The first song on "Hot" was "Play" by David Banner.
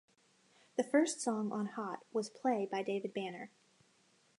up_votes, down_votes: 2, 0